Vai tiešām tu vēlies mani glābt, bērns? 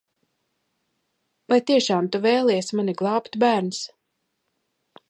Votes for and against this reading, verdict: 2, 0, accepted